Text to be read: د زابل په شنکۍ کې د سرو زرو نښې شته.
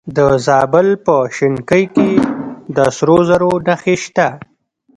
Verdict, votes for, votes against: accepted, 2, 0